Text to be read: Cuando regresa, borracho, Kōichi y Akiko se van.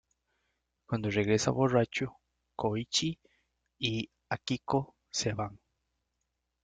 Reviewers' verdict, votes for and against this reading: accepted, 2, 1